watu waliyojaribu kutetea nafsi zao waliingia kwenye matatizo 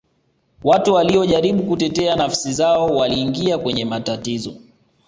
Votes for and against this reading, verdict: 2, 0, accepted